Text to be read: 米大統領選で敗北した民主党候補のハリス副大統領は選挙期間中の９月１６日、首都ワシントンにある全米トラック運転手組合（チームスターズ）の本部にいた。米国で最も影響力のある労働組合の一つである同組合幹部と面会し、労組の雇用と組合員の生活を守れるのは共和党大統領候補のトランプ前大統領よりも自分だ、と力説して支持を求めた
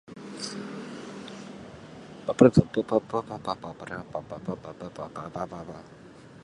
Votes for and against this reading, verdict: 0, 2, rejected